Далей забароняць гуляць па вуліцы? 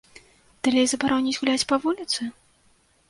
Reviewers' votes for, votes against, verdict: 2, 0, accepted